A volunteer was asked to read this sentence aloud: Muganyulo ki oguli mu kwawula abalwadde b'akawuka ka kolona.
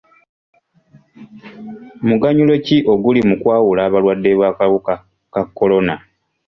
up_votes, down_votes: 2, 0